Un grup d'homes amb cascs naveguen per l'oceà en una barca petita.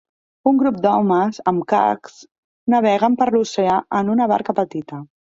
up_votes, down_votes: 0, 2